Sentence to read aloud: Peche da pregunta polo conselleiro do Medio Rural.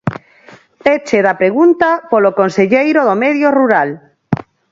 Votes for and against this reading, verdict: 2, 4, rejected